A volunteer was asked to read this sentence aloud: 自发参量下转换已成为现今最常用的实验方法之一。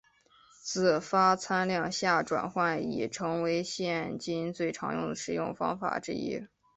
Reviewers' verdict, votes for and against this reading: accepted, 2, 0